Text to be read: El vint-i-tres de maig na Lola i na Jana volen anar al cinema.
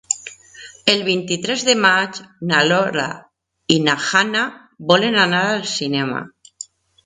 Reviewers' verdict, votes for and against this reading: rejected, 0, 2